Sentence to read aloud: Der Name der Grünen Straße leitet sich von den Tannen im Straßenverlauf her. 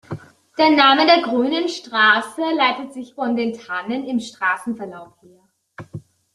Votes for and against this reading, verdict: 2, 0, accepted